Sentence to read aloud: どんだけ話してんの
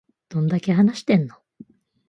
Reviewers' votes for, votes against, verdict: 2, 0, accepted